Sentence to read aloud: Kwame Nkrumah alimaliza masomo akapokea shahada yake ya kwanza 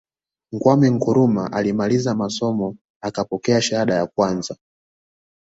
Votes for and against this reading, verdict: 2, 0, accepted